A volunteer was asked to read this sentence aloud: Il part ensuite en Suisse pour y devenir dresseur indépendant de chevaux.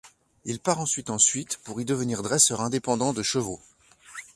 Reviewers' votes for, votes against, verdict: 0, 2, rejected